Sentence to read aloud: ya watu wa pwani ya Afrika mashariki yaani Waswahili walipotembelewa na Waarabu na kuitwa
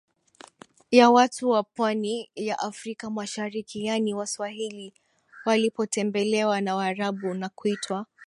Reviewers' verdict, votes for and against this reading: accepted, 2, 0